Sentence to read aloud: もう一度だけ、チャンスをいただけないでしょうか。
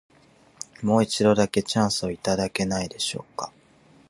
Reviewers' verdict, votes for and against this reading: accepted, 4, 2